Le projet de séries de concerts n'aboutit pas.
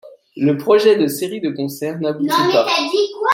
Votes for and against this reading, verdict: 0, 2, rejected